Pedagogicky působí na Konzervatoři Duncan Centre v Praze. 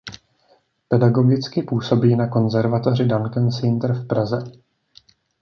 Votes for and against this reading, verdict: 1, 2, rejected